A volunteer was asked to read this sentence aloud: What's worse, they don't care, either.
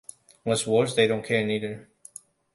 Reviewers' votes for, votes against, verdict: 1, 2, rejected